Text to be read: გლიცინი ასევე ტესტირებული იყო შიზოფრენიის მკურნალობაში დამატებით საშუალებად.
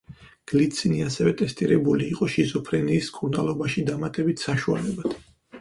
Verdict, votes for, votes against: accepted, 4, 0